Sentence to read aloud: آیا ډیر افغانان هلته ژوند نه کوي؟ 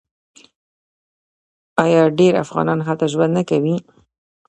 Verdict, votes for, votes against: accepted, 2, 0